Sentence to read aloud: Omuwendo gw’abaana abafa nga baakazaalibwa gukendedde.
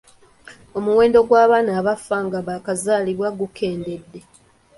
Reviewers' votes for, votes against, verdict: 2, 0, accepted